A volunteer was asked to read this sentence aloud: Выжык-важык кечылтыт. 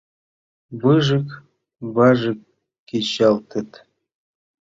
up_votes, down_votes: 2, 3